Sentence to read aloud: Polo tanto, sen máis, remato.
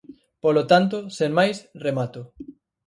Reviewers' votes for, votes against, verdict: 4, 0, accepted